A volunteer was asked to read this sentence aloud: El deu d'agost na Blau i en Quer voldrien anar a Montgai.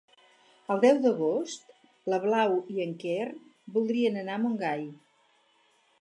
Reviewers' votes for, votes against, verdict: 0, 4, rejected